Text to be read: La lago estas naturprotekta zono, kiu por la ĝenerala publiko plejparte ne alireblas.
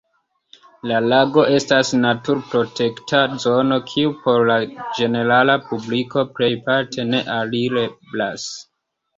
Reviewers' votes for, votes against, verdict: 2, 0, accepted